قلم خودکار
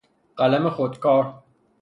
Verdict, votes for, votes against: accepted, 3, 0